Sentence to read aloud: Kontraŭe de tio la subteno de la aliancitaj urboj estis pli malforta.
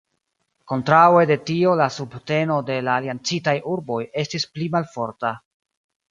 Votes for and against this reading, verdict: 2, 0, accepted